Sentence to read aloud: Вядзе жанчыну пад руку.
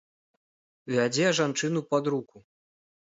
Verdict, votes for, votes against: rejected, 1, 2